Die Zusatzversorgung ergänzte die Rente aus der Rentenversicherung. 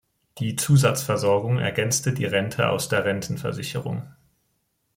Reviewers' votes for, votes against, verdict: 2, 0, accepted